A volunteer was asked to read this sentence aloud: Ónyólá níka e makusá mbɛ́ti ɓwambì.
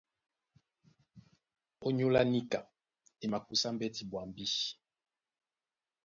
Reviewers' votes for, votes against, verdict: 2, 0, accepted